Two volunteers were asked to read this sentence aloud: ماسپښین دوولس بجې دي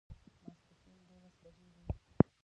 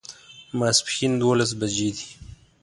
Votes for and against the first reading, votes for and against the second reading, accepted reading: 0, 2, 2, 0, second